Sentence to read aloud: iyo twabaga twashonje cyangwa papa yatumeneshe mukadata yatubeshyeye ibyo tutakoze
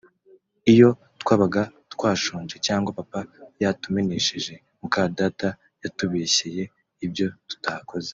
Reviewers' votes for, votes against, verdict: 2, 0, accepted